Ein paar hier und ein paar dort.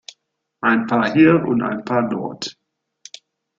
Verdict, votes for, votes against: accepted, 2, 1